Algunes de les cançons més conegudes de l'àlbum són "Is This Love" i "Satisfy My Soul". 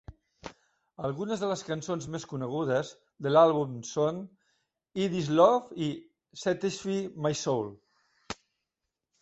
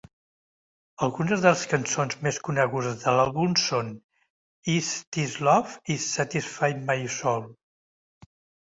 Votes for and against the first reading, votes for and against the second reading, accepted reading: 0, 2, 2, 1, second